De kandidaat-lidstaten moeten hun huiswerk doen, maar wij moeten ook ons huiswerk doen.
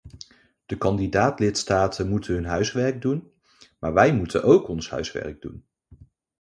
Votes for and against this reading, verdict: 2, 0, accepted